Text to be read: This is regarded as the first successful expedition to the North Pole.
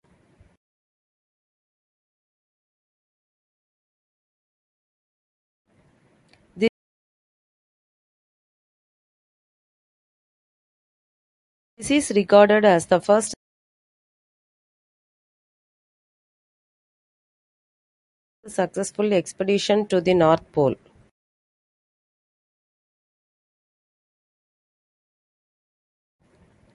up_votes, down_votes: 0, 2